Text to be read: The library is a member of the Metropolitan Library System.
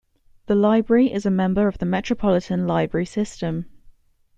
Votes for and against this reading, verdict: 3, 0, accepted